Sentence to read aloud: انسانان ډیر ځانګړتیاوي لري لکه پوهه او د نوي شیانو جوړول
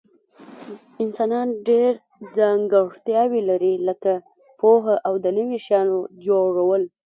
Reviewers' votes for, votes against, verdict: 0, 2, rejected